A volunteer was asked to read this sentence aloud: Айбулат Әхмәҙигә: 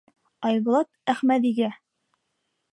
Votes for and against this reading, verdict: 3, 0, accepted